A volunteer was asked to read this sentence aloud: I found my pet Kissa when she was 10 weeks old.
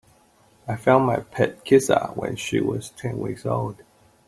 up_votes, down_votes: 0, 2